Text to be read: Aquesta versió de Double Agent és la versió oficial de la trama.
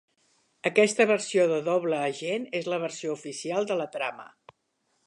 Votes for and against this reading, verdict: 2, 0, accepted